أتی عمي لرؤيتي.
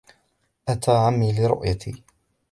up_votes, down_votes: 2, 0